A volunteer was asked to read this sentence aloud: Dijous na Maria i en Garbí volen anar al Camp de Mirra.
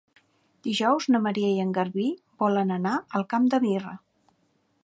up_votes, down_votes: 2, 0